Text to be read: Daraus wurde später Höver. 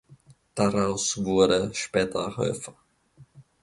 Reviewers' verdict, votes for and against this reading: accepted, 2, 0